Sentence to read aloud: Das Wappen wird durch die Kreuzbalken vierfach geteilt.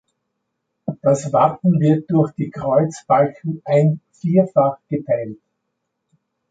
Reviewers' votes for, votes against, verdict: 0, 2, rejected